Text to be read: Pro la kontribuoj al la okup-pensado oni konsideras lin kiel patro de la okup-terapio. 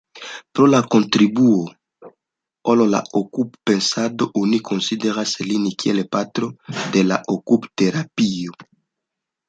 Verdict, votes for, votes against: rejected, 1, 2